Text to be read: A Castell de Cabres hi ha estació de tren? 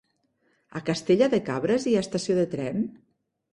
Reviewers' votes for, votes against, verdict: 0, 2, rejected